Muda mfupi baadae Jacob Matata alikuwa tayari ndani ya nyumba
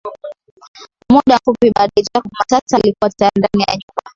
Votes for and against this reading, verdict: 0, 2, rejected